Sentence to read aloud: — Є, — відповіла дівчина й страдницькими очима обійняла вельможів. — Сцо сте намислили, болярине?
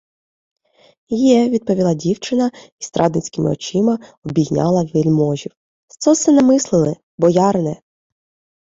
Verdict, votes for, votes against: rejected, 1, 2